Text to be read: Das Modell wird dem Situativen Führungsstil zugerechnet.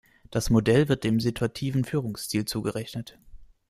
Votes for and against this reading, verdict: 2, 0, accepted